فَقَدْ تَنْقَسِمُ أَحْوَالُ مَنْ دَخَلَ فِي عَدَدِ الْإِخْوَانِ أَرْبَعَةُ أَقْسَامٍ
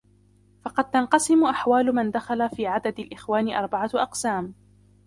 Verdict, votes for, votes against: rejected, 0, 2